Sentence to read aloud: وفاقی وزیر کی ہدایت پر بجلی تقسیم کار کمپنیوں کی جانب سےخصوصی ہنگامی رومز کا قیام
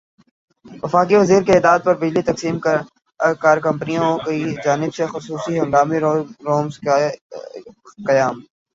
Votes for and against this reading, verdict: 1, 5, rejected